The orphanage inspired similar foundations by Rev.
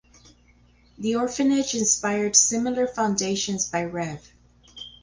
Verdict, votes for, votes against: accepted, 4, 0